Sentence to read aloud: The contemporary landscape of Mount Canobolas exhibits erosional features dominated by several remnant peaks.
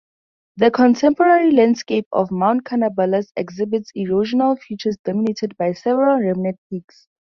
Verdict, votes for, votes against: rejected, 2, 2